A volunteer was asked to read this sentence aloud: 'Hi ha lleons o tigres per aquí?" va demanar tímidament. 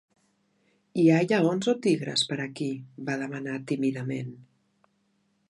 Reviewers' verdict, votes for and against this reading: rejected, 1, 2